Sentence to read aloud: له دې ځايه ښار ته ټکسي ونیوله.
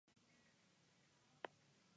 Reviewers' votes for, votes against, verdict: 1, 2, rejected